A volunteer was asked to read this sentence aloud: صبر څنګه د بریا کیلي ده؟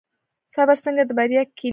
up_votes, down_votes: 1, 2